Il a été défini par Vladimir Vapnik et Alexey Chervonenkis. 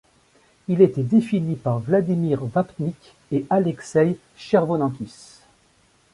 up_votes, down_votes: 0, 2